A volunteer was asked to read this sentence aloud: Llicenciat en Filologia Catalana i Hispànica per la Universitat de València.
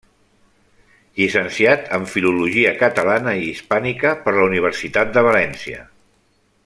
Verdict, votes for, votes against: accepted, 3, 1